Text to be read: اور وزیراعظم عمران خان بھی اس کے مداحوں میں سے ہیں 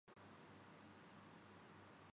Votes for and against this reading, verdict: 4, 10, rejected